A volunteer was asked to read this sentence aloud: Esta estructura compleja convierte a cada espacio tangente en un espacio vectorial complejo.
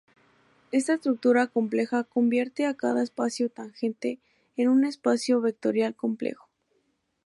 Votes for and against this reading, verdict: 2, 0, accepted